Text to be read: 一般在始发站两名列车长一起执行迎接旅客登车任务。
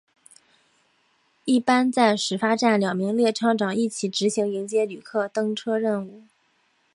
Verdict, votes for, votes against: accepted, 2, 0